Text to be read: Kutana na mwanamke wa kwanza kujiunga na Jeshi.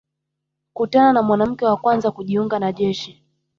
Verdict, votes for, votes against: rejected, 1, 2